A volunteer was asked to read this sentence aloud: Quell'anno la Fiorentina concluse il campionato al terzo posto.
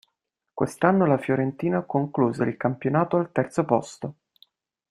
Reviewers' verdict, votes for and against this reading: rejected, 0, 2